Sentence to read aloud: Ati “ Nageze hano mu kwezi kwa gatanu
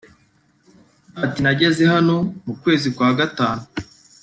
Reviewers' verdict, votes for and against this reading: accepted, 2, 0